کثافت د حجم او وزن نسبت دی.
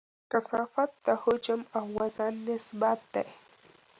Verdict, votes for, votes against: accepted, 2, 0